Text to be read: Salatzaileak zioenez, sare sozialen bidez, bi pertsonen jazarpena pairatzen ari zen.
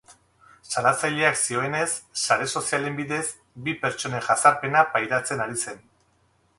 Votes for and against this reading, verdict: 0, 2, rejected